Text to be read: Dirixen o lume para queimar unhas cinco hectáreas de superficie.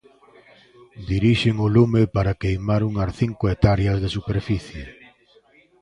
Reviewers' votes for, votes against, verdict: 1, 2, rejected